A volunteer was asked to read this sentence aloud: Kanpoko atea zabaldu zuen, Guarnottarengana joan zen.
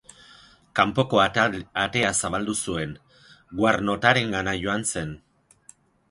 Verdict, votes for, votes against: rejected, 0, 2